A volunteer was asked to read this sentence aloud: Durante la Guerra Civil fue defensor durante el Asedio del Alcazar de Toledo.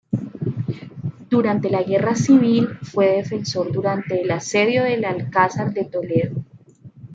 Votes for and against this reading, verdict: 2, 0, accepted